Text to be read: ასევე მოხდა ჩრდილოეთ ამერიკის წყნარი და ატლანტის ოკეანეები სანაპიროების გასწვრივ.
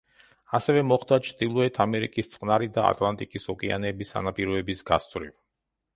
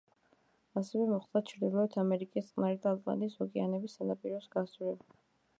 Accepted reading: second